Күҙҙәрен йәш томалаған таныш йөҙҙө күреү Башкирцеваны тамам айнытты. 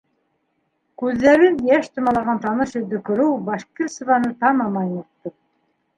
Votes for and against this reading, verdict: 2, 1, accepted